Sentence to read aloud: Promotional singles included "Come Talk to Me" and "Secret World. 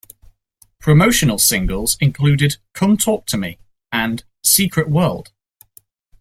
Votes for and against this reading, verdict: 2, 0, accepted